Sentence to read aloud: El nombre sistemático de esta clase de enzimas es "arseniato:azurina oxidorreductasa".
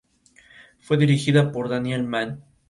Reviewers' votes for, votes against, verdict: 0, 2, rejected